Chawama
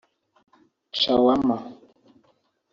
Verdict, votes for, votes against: rejected, 2, 3